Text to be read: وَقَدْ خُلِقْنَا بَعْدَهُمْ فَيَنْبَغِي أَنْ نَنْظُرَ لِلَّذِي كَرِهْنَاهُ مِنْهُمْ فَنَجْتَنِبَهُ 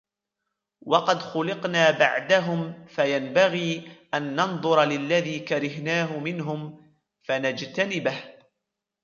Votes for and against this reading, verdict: 1, 2, rejected